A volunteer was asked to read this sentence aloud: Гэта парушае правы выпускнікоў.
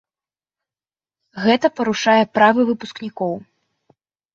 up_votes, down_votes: 0, 2